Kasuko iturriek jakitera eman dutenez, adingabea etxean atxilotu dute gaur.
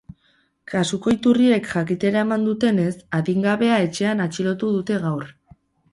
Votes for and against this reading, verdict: 0, 2, rejected